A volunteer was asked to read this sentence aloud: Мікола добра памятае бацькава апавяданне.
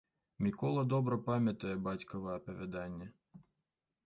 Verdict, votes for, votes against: accepted, 2, 0